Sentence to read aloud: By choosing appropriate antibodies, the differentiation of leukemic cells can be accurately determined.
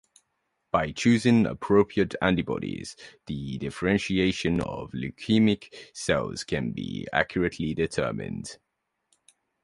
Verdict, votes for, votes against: accepted, 2, 0